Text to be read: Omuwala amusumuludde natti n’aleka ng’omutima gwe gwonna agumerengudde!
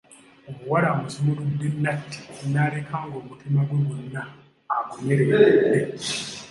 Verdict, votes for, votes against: accepted, 2, 0